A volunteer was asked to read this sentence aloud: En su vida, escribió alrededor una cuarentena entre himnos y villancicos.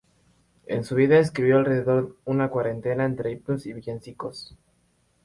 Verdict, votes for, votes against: rejected, 4, 4